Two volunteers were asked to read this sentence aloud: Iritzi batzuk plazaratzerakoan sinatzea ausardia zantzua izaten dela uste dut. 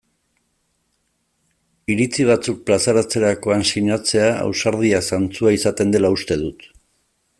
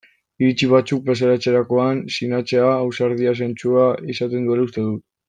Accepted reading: first